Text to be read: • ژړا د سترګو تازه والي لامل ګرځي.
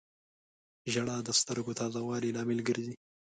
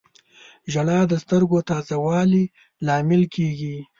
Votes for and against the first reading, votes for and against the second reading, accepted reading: 2, 0, 1, 2, first